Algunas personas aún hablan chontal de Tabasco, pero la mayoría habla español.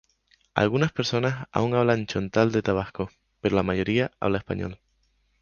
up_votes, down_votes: 2, 0